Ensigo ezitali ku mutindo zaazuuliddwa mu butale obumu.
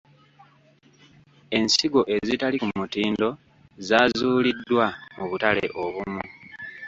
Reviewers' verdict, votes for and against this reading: accepted, 2, 1